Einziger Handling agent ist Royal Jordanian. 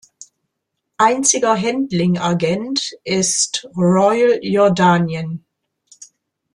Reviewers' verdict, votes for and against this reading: rejected, 0, 2